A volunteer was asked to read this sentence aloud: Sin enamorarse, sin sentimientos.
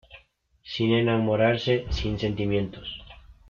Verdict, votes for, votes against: accepted, 3, 0